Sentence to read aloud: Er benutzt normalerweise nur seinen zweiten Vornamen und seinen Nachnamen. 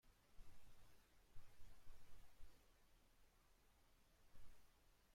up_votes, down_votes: 0, 2